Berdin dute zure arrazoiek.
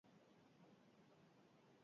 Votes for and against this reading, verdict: 0, 4, rejected